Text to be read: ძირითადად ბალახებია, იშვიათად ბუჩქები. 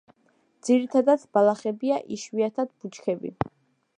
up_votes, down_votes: 2, 0